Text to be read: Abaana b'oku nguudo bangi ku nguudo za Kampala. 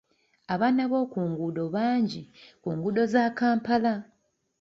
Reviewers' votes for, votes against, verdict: 2, 0, accepted